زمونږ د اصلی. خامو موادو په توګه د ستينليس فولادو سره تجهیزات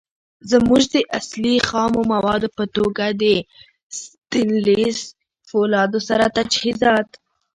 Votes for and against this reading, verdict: 1, 2, rejected